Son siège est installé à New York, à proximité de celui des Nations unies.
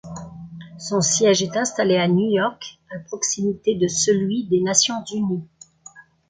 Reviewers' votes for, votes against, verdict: 2, 0, accepted